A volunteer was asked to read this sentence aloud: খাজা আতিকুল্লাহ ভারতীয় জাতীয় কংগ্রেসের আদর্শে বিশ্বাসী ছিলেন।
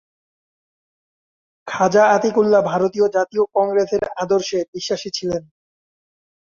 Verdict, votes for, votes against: accepted, 2, 0